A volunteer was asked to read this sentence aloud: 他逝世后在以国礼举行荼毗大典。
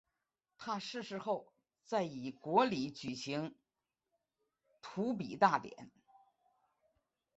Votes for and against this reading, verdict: 2, 1, accepted